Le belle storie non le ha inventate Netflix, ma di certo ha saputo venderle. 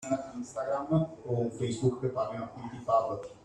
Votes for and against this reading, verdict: 0, 2, rejected